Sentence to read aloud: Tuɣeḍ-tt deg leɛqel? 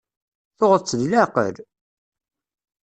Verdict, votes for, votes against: accepted, 2, 0